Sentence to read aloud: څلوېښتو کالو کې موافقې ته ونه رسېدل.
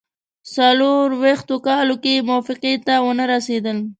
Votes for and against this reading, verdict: 0, 2, rejected